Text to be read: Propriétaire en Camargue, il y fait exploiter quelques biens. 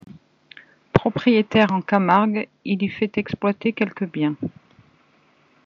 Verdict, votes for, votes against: accepted, 2, 0